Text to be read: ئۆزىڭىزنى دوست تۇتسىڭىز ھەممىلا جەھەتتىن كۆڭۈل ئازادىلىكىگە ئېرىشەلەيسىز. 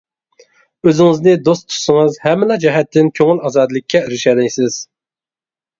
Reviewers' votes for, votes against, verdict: 1, 2, rejected